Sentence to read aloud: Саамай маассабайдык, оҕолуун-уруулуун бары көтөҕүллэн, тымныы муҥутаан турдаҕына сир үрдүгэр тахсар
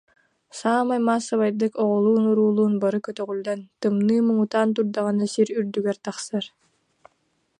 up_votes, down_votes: 2, 0